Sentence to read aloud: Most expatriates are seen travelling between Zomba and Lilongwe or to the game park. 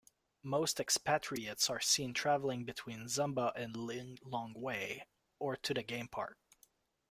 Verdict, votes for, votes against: rejected, 1, 2